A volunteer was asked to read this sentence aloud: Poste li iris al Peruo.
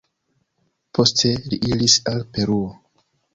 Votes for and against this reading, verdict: 2, 3, rejected